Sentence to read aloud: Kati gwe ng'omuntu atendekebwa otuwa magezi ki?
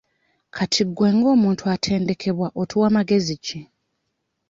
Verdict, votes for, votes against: accepted, 2, 0